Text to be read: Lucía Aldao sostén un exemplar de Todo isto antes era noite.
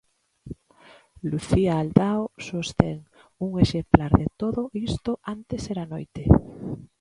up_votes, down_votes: 3, 0